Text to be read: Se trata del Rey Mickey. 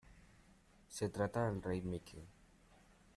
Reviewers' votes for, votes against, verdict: 2, 0, accepted